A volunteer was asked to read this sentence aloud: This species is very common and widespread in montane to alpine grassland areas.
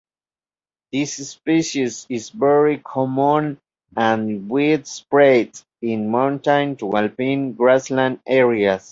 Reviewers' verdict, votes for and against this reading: accepted, 3, 1